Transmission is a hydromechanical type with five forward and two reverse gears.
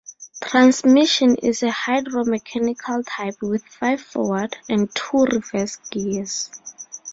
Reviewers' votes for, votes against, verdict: 4, 0, accepted